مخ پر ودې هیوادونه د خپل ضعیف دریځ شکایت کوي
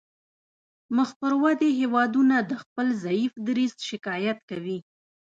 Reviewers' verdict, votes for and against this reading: rejected, 0, 2